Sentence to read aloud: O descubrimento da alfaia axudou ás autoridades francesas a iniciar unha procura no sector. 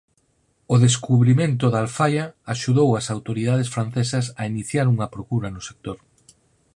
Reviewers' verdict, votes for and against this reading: accepted, 4, 0